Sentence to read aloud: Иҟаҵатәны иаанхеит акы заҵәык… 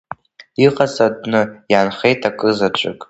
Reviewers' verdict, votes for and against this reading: accepted, 2, 1